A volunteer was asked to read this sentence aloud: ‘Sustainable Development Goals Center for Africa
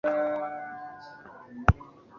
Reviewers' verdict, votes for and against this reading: rejected, 0, 2